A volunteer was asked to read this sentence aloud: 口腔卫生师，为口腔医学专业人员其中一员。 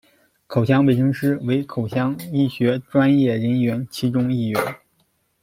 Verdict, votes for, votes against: accepted, 2, 0